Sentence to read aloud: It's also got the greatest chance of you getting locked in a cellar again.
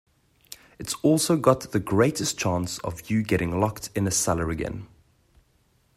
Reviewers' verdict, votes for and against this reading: accepted, 2, 0